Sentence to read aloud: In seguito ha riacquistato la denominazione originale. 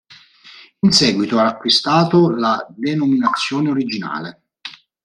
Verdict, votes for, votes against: rejected, 0, 3